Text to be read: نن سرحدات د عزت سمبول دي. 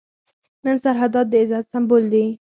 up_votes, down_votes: 0, 4